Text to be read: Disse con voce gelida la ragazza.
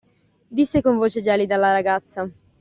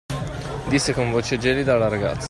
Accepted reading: first